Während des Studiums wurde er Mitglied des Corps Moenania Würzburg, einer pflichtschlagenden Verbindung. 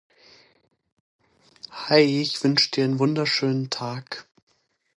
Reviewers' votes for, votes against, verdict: 0, 2, rejected